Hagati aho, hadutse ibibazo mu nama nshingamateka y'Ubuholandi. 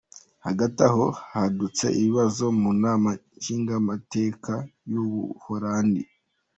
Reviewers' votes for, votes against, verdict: 2, 0, accepted